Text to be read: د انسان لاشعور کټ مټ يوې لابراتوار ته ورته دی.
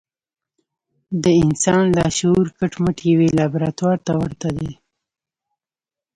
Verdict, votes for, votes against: rejected, 1, 2